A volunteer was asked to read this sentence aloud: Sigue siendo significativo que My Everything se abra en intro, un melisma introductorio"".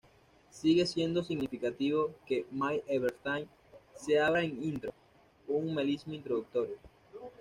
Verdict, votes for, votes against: rejected, 1, 2